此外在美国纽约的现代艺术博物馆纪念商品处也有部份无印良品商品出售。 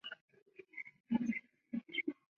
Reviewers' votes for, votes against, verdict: 0, 2, rejected